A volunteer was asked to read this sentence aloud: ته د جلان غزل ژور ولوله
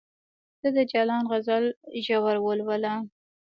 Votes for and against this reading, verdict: 2, 0, accepted